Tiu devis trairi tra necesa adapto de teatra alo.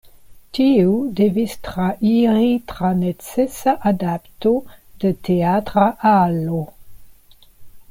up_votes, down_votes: 2, 0